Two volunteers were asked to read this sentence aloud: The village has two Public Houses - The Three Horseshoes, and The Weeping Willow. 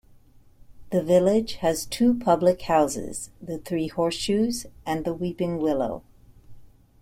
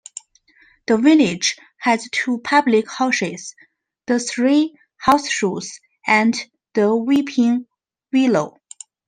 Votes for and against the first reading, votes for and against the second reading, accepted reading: 2, 0, 1, 2, first